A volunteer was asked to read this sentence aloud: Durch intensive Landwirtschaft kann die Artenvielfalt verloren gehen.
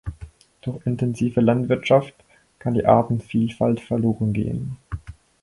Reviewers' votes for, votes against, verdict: 2, 4, rejected